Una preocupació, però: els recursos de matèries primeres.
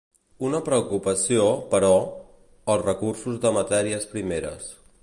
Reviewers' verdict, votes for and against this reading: accepted, 2, 1